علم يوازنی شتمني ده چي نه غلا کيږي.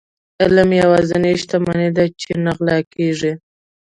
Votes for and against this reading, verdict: 1, 2, rejected